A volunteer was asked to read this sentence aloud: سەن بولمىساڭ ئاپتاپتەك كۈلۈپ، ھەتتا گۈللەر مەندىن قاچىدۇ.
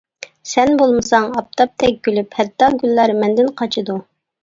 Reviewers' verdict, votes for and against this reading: accepted, 2, 0